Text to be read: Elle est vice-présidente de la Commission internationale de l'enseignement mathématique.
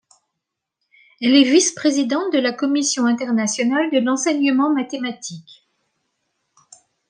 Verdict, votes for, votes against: accepted, 2, 0